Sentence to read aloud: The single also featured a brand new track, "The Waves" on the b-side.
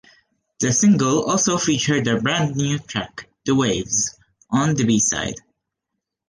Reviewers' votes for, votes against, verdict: 2, 1, accepted